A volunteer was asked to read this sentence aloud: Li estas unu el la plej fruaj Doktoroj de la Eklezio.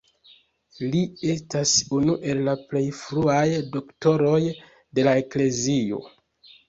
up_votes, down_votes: 2, 0